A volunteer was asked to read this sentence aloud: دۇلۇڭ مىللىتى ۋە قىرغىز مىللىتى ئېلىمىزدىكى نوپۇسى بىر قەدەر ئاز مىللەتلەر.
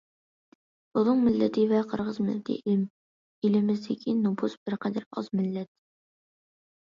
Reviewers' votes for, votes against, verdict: 1, 2, rejected